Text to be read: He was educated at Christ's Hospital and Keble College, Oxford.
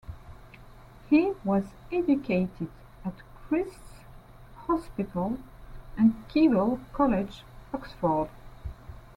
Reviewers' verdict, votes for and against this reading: accepted, 2, 0